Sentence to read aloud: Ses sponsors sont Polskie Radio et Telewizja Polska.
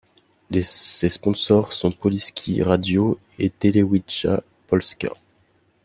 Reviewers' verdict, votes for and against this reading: rejected, 1, 2